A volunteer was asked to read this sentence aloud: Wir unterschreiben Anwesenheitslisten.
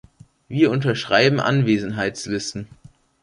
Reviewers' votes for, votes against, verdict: 2, 0, accepted